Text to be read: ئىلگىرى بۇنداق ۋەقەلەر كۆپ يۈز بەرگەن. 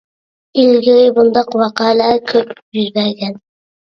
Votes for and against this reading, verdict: 0, 2, rejected